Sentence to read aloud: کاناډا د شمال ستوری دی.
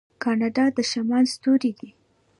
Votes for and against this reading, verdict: 1, 2, rejected